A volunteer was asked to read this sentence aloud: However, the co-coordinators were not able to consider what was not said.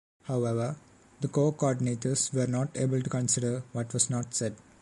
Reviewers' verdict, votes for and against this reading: accepted, 2, 0